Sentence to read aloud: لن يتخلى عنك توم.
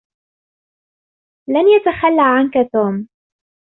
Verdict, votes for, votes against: accepted, 2, 0